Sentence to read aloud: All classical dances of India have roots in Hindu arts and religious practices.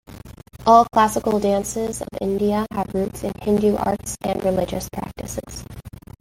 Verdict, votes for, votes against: accepted, 2, 0